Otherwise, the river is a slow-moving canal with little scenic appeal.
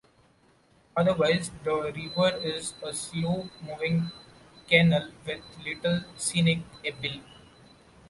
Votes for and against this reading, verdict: 2, 1, accepted